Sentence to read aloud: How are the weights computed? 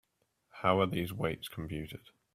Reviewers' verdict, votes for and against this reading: rejected, 1, 2